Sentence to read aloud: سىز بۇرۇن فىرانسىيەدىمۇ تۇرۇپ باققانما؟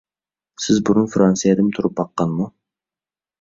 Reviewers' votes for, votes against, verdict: 2, 0, accepted